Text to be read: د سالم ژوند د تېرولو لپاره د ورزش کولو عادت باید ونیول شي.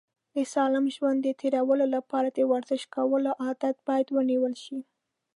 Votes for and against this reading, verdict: 2, 0, accepted